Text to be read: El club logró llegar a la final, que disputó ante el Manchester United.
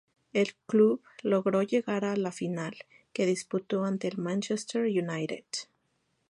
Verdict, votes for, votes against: accepted, 4, 0